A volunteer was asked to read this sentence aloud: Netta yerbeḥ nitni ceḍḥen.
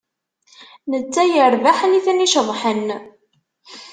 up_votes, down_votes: 2, 0